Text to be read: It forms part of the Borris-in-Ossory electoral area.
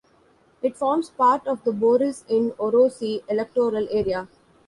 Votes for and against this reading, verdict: 2, 0, accepted